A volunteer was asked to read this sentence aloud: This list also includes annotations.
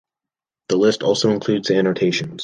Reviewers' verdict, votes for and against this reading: rejected, 1, 2